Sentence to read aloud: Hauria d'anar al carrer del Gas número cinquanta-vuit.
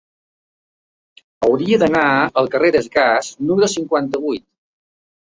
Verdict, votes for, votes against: rejected, 1, 2